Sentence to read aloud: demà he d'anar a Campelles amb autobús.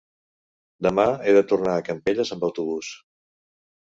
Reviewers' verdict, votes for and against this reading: rejected, 1, 2